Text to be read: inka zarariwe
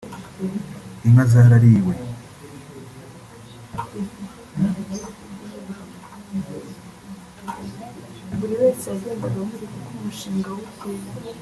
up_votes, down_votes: 1, 2